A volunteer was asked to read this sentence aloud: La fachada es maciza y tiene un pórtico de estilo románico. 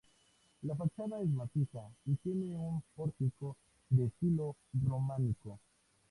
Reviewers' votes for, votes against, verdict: 0, 2, rejected